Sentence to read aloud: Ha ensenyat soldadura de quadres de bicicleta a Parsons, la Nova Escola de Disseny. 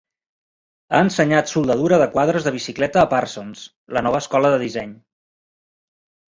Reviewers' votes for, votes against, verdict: 2, 0, accepted